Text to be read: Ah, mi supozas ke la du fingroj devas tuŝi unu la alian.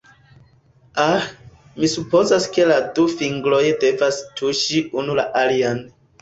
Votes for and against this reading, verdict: 1, 2, rejected